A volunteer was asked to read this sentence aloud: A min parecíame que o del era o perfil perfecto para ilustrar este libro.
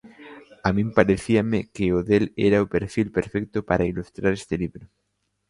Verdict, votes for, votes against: accepted, 2, 0